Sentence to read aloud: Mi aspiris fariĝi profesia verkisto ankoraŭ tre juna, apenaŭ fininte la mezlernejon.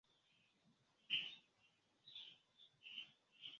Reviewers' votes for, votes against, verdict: 1, 2, rejected